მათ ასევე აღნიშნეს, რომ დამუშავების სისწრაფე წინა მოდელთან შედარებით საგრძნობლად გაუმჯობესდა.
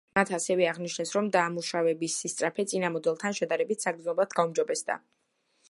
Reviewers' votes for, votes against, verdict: 2, 1, accepted